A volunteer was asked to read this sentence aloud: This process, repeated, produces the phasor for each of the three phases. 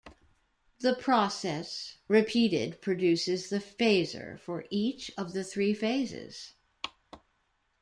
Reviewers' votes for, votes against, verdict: 0, 2, rejected